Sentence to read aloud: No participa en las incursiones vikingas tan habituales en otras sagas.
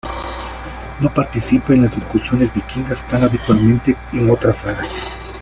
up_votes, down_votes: 0, 2